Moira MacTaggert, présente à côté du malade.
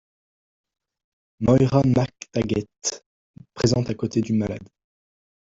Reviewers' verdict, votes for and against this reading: rejected, 0, 2